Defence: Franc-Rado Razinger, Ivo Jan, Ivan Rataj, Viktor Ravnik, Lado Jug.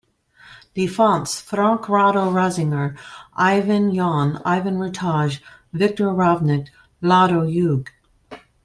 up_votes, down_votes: 1, 2